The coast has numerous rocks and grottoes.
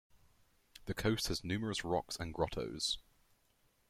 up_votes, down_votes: 10, 0